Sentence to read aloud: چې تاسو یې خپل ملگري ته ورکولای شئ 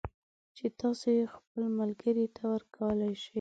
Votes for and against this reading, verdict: 2, 0, accepted